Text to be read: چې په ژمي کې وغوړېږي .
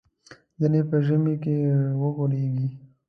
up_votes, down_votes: 1, 2